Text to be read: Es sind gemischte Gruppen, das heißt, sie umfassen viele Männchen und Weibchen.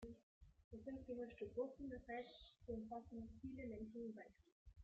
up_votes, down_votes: 1, 2